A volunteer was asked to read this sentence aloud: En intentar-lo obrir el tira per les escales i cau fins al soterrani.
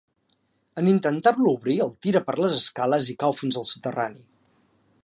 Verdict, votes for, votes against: accepted, 3, 0